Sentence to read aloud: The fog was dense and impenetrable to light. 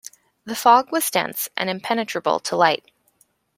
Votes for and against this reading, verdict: 2, 0, accepted